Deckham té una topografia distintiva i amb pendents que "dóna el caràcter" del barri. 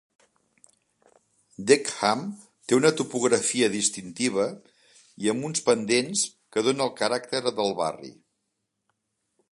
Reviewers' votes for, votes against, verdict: 1, 3, rejected